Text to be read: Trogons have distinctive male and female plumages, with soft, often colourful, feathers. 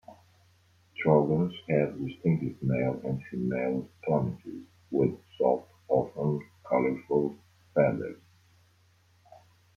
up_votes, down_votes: 2, 1